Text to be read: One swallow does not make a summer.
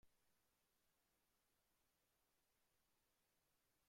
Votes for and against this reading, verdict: 0, 2, rejected